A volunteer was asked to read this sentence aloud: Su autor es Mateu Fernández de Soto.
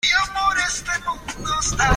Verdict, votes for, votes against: rejected, 0, 2